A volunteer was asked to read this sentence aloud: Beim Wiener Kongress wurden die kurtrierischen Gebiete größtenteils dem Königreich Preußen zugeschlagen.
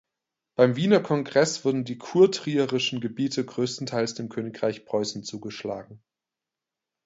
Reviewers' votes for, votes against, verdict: 2, 0, accepted